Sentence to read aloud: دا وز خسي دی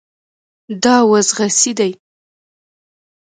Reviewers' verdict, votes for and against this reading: accepted, 2, 0